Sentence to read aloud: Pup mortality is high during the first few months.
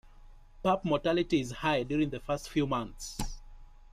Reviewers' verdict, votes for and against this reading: accepted, 2, 1